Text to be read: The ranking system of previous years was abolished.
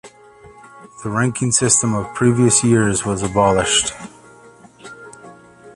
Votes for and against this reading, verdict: 6, 0, accepted